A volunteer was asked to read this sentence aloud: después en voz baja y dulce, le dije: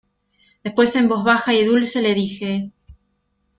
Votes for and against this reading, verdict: 2, 0, accepted